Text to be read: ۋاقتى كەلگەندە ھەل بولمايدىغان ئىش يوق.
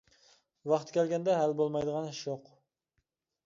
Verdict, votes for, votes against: accepted, 2, 1